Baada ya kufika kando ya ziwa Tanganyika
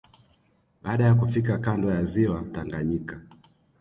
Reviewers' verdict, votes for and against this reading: accepted, 2, 0